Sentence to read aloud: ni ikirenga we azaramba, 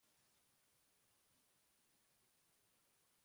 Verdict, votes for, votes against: rejected, 1, 2